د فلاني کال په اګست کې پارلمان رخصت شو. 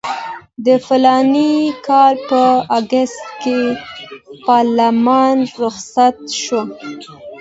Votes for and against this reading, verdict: 2, 0, accepted